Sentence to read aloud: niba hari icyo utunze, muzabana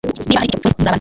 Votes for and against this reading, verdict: 1, 2, rejected